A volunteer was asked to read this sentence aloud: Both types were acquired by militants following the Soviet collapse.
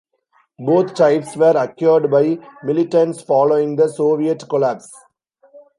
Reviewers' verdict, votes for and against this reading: accepted, 2, 1